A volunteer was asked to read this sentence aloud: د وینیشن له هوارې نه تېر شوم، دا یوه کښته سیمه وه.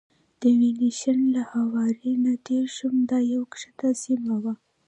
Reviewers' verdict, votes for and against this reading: rejected, 1, 2